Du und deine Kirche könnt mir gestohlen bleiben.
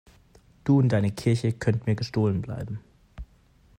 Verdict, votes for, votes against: accepted, 2, 0